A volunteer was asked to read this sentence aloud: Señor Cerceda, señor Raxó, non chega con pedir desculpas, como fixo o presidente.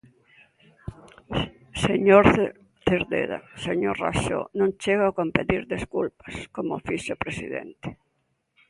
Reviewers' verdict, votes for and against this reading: rejected, 0, 2